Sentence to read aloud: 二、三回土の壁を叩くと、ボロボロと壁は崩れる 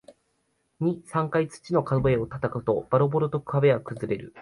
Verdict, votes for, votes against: accepted, 4, 0